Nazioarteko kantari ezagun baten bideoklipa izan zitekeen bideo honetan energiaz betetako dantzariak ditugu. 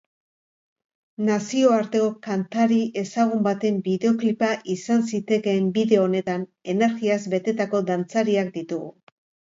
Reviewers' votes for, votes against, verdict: 0, 4, rejected